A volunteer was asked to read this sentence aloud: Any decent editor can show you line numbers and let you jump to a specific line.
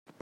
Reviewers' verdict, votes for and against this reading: rejected, 0, 2